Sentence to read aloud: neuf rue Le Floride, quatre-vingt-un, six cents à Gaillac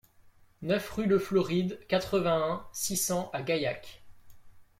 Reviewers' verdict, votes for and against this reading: rejected, 1, 2